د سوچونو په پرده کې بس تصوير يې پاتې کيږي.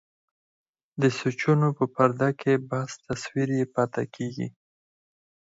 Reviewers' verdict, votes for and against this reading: rejected, 0, 4